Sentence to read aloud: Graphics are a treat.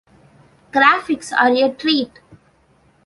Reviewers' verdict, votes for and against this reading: accepted, 2, 0